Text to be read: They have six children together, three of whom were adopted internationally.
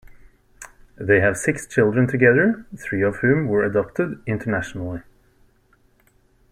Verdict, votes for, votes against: accepted, 2, 0